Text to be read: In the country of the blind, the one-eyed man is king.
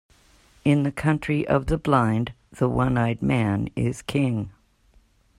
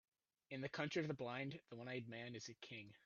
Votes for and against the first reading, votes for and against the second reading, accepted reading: 2, 1, 0, 2, first